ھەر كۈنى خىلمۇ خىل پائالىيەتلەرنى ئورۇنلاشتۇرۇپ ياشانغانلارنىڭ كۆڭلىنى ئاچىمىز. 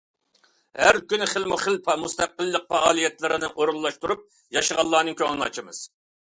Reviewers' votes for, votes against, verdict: 0, 2, rejected